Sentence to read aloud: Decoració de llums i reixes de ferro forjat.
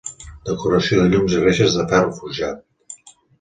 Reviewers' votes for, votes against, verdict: 2, 0, accepted